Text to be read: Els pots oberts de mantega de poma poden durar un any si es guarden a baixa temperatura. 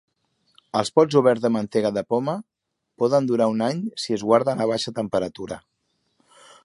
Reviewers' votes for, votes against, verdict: 3, 0, accepted